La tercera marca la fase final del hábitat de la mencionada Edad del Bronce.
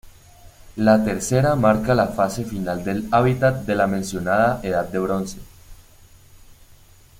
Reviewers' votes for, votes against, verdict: 2, 0, accepted